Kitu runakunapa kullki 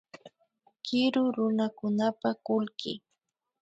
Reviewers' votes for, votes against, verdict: 2, 1, accepted